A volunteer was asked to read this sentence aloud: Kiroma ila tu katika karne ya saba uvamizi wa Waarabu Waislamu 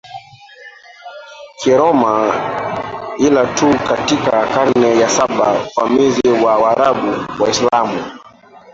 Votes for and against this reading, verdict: 0, 2, rejected